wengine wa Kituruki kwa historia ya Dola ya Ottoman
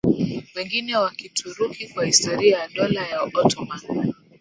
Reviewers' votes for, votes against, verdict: 5, 0, accepted